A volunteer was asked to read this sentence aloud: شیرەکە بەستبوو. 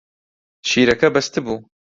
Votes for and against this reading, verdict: 2, 0, accepted